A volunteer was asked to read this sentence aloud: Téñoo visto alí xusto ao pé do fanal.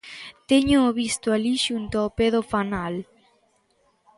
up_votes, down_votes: 1, 2